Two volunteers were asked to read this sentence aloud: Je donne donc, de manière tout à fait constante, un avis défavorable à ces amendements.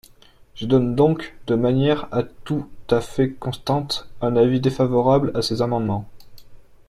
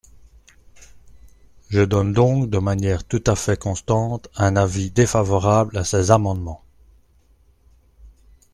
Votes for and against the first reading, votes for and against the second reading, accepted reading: 0, 2, 2, 0, second